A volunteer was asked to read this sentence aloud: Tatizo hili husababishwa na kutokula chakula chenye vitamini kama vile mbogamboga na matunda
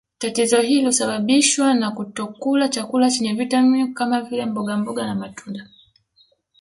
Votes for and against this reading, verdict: 1, 2, rejected